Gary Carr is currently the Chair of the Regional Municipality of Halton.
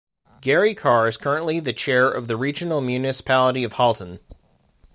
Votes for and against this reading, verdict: 2, 0, accepted